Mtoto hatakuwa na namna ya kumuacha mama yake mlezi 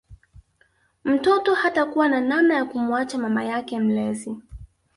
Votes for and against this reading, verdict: 2, 0, accepted